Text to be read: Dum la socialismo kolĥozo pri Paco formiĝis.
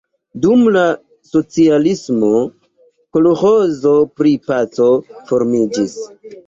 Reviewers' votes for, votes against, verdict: 3, 0, accepted